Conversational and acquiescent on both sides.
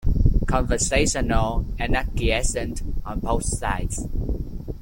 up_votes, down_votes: 2, 0